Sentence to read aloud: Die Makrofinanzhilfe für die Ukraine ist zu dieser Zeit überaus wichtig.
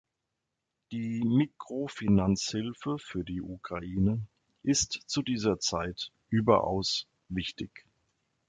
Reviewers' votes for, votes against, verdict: 0, 2, rejected